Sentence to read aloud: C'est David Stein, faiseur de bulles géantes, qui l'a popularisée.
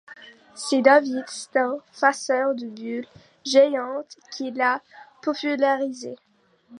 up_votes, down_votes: 1, 2